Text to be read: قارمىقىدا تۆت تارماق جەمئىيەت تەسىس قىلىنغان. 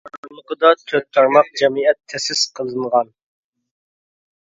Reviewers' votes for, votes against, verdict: 0, 2, rejected